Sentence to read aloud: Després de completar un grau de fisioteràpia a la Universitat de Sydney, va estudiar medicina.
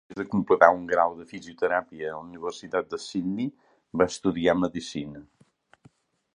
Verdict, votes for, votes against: rejected, 1, 2